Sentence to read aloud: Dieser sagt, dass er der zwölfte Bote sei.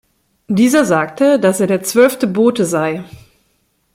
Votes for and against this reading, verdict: 0, 2, rejected